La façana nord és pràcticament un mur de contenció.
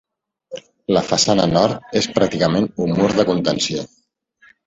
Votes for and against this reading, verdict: 0, 2, rejected